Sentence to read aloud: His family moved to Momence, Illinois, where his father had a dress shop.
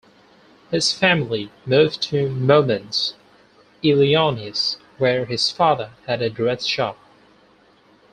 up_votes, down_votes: 0, 4